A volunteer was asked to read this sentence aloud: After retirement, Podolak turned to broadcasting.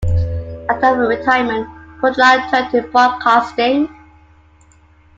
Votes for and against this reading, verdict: 2, 1, accepted